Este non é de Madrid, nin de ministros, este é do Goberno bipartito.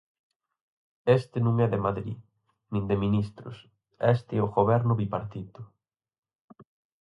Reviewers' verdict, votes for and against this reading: rejected, 0, 4